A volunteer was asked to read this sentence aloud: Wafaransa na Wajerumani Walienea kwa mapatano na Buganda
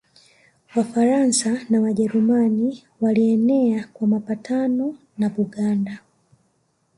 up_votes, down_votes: 1, 2